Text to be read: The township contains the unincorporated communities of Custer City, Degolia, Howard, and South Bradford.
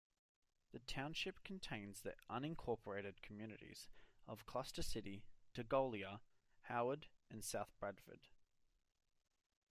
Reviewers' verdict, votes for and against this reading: rejected, 1, 2